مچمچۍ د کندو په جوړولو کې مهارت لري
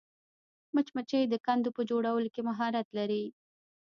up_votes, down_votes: 2, 1